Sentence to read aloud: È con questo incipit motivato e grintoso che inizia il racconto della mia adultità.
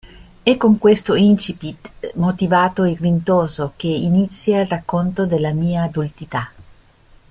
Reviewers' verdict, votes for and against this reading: accepted, 2, 0